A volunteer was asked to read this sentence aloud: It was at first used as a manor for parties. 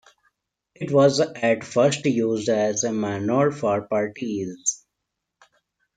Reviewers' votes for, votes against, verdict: 2, 1, accepted